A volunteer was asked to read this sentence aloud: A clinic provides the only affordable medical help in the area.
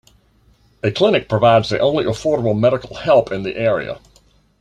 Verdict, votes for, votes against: accepted, 2, 0